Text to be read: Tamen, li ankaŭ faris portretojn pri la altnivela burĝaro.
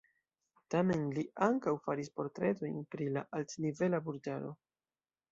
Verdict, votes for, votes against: accepted, 2, 0